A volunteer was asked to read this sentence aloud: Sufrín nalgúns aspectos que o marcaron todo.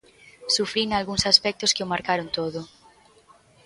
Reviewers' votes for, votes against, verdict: 2, 0, accepted